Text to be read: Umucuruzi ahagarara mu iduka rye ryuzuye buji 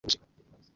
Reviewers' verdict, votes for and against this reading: rejected, 0, 2